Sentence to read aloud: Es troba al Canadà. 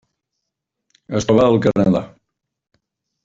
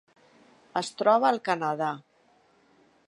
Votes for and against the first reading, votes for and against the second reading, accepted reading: 1, 2, 3, 0, second